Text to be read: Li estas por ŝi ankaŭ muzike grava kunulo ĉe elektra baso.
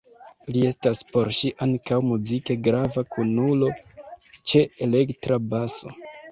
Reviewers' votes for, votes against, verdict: 1, 2, rejected